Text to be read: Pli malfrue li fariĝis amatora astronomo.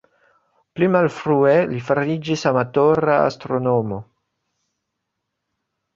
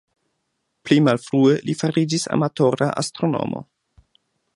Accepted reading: second